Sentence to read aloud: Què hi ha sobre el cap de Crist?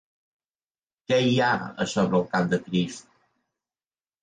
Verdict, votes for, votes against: rejected, 1, 2